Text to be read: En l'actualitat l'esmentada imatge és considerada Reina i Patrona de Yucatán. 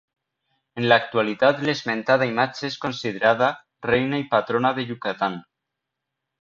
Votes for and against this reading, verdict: 2, 0, accepted